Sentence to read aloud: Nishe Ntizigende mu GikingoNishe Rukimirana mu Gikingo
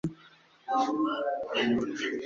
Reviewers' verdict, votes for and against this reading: rejected, 0, 2